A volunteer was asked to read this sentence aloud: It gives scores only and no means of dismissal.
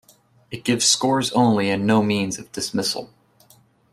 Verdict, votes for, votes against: accepted, 2, 0